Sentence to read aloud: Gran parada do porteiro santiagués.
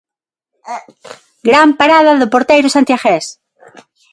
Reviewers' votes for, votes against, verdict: 3, 6, rejected